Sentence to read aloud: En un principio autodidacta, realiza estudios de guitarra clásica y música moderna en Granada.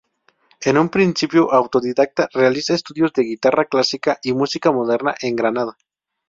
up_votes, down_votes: 0, 2